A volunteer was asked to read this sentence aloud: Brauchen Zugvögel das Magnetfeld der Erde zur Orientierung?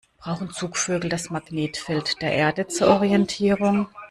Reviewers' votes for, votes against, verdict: 0, 2, rejected